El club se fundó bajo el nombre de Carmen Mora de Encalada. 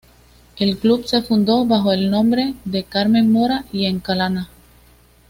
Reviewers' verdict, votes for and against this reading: rejected, 1, 2